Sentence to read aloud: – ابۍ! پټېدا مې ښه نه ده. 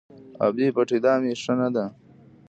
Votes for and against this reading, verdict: 0, 2, rejected